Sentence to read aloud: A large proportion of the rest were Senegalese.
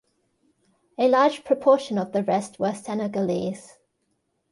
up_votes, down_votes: 2, 0